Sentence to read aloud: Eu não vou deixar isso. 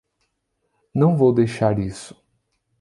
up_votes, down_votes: 0, 2